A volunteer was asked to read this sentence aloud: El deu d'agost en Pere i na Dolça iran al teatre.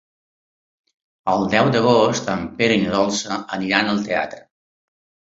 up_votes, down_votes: 1, 3